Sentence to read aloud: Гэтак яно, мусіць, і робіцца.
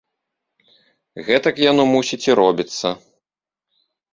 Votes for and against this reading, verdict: 2, 0, accepted